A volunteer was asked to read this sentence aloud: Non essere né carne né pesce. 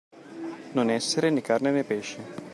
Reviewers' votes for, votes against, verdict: 2, 0, accepted